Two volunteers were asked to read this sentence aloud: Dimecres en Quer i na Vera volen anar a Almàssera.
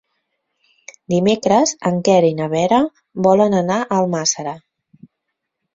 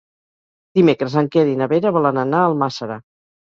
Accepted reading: first